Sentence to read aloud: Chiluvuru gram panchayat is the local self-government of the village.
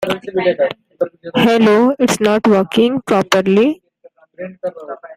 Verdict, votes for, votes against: rejected, 0, 2